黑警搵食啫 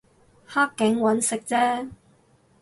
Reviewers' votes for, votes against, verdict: 4, 0, accepted